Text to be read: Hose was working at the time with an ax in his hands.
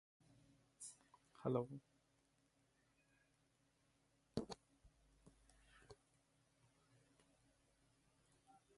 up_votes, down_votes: 0, 3